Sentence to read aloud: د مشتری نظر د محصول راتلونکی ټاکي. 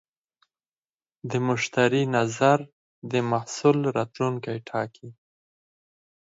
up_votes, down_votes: 4, 2